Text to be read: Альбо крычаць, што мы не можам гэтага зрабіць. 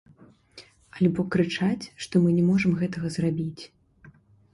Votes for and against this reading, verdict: 1, 2, rejected